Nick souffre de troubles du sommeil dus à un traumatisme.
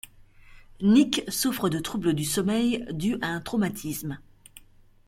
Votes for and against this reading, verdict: 2, 0, accepted